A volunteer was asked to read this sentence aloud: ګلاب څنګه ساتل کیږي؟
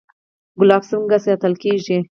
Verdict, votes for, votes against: rejected, 0, 4